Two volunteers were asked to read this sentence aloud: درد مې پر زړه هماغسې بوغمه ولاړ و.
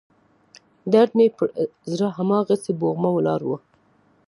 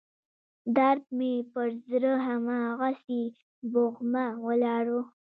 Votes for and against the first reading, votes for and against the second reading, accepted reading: 2, 0, 0, 2, first